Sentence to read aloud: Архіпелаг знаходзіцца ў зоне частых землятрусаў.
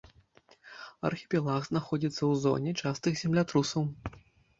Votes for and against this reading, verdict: 2, 1, accepted